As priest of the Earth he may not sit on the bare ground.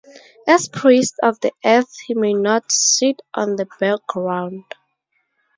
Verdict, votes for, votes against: accepted, 2, 0